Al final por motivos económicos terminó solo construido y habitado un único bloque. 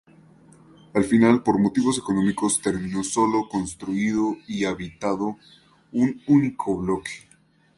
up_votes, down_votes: 2, 2